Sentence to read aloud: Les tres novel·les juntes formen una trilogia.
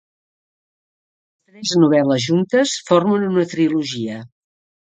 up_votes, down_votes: 1, 2